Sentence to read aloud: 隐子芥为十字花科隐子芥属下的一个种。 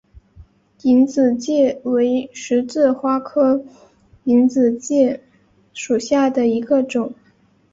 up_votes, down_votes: 4, 0